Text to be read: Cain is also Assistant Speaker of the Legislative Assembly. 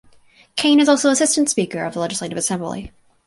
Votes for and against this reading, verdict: 2, 4, rejected